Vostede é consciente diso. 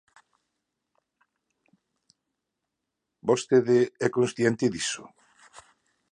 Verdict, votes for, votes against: rejected, 0, 2